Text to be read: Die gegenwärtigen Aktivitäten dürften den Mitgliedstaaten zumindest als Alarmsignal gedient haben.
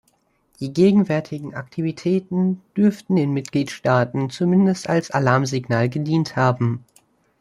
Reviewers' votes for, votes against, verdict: 2, 0, accepted